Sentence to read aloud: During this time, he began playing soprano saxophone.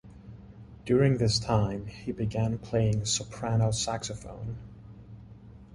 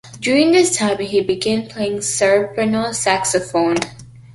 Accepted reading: first